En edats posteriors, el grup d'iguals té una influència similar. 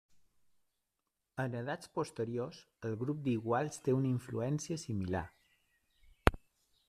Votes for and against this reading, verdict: 0, 2, rejected